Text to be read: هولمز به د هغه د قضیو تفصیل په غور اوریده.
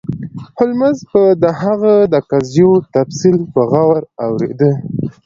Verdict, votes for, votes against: accepted, 2, 0